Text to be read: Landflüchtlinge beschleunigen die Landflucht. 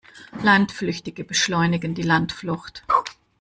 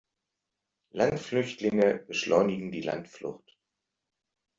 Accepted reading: second